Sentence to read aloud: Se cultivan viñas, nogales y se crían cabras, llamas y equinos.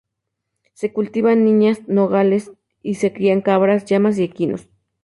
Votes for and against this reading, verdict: 0, 2, rejected